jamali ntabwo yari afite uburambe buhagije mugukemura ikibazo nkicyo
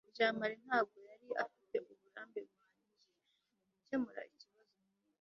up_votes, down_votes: 0, 2